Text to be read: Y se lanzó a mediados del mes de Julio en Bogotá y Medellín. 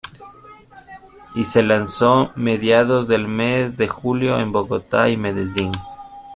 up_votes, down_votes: 1, 2